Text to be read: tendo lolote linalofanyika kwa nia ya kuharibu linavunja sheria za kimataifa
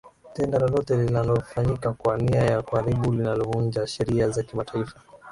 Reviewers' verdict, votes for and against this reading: accepted, 3, 0